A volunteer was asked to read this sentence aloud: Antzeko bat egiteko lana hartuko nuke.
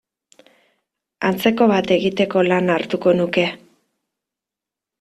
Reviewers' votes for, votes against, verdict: 2, 0, accepted